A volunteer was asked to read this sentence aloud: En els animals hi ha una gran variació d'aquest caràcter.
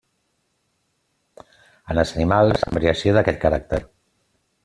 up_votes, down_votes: 1, 2